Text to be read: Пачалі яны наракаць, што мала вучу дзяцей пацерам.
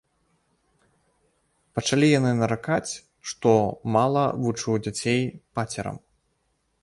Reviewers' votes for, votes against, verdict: 2, 0, accepted